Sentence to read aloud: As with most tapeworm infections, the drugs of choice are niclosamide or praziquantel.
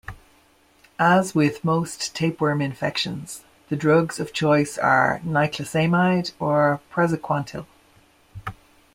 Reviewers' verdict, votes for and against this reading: accepted, 2, 0